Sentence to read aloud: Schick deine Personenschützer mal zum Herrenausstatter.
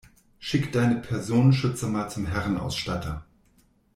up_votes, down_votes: 2, 0